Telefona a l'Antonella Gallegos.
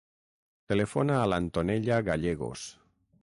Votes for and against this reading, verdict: 6, 0, accepted